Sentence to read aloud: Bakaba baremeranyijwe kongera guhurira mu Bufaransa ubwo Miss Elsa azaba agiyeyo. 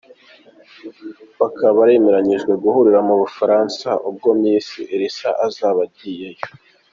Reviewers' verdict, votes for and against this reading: rejected, 1, 2